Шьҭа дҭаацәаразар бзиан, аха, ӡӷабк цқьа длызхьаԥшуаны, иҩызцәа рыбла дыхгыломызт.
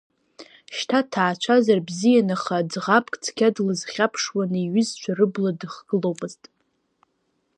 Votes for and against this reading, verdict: 1, 2, rejected